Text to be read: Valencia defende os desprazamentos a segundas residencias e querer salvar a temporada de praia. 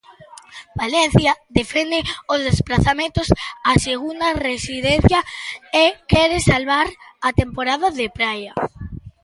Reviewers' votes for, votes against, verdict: 0, 2, rejected